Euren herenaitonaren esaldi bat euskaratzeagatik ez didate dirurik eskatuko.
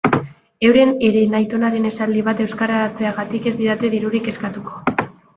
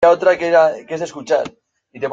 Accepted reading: first